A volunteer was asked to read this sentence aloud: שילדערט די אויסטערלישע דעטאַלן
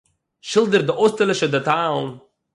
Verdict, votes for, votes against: accepted, 6, 0